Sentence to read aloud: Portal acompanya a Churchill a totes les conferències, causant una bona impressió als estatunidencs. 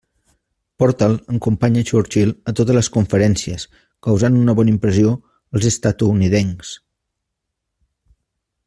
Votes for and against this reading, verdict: 1, 2, rejected